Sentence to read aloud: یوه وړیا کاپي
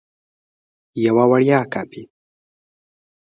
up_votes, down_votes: 2, 0